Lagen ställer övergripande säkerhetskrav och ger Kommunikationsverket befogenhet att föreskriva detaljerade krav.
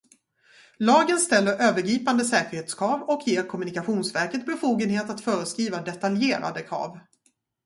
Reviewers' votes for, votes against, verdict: 0, 2, rejected